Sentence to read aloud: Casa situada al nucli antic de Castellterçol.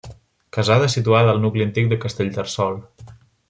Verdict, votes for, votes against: rejected, 1, 2